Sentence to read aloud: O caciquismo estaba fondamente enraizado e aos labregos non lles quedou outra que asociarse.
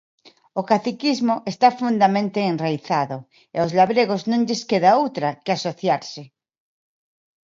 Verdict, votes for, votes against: rejected, 0, 2